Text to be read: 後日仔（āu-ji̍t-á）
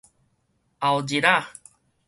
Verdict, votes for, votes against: accepted, 4, 0